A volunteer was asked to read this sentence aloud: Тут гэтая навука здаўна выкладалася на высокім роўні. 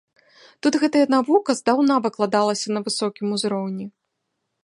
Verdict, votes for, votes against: rejected, 0, 2